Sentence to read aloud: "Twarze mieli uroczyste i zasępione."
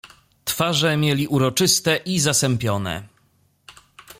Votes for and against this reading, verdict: 2, 0, accepted